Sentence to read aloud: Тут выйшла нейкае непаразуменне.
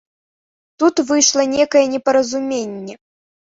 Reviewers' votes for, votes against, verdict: 2, 0, accepted